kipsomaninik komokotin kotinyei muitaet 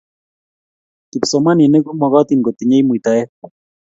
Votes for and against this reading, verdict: 2, 0, accepted